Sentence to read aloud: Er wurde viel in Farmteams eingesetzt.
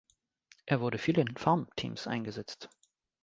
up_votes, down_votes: 2, 0